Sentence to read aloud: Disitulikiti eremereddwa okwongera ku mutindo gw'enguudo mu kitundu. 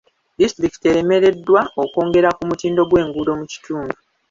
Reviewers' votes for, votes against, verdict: 2, 0, accepted